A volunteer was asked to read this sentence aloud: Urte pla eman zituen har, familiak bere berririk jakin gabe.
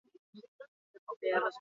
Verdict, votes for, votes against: rejected, 0, 6